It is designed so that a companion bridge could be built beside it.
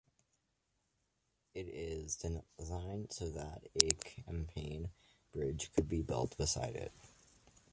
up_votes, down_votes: 1, 2